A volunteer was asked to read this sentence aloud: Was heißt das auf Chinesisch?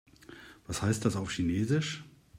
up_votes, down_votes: 2, 0